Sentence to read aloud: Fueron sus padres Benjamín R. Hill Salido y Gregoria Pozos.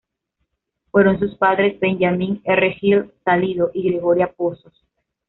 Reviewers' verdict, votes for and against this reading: accepted, 2, 0